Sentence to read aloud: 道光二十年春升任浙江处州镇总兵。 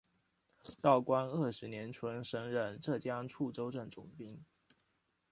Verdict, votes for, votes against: accepted, 2, 1